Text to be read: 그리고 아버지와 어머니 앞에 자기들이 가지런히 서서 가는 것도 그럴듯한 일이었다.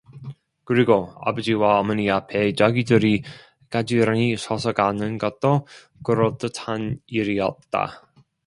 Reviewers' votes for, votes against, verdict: 2, 0, accepted